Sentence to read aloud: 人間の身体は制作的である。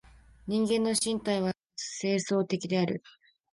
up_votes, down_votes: 0, 2